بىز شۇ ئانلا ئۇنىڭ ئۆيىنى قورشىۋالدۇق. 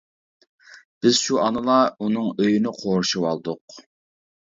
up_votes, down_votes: 1, 2